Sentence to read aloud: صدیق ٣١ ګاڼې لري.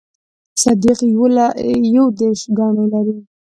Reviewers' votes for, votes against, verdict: 0, 2, rejected